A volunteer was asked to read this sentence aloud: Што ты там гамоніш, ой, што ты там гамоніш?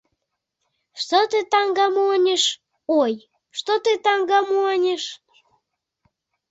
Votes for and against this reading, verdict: 1, 2, rejected